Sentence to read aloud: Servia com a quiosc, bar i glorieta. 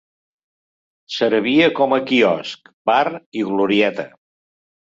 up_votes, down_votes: 3, 0